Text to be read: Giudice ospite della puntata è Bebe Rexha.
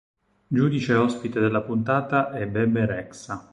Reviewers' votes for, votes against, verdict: 4, 0, accepted